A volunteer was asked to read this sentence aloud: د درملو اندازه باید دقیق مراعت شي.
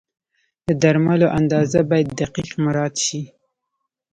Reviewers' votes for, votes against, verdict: 2, 0, accepted